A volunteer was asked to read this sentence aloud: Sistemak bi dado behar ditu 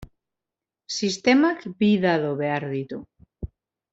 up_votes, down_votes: 0, 2